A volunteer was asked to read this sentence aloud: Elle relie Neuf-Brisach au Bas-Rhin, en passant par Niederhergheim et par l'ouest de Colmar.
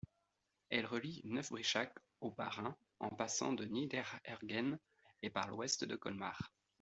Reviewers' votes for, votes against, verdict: 2, 1, accepted